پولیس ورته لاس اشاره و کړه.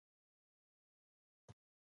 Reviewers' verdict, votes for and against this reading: rejected, 0, 2